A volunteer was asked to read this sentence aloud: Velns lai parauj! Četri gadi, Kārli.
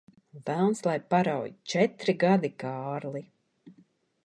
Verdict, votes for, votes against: accepted, 2, 0